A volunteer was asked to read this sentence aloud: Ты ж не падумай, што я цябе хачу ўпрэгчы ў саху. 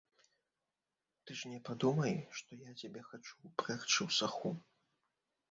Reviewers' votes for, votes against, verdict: 0, 3, rejected